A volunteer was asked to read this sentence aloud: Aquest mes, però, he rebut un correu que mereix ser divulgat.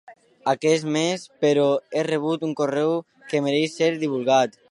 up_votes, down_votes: 2, 0